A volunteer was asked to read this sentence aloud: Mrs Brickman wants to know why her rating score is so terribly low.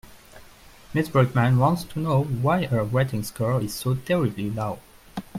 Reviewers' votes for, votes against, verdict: 1, 2, rejected